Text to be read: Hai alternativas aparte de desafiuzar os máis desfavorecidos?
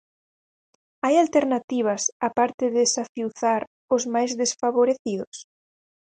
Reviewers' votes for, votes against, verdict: 2, 4, rejected